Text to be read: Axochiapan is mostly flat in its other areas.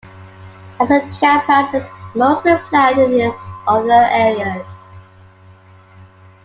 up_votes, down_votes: 0, 2